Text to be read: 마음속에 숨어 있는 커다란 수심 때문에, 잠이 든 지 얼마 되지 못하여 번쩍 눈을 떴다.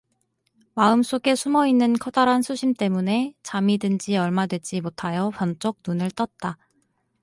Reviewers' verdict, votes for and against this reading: rejected, 2, 2